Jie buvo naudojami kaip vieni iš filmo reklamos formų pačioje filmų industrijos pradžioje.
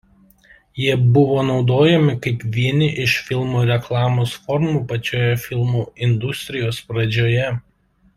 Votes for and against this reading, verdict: 2, 1, accepted